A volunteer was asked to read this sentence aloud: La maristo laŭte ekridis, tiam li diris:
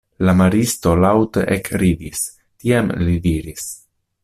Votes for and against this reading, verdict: 2, 0, accepted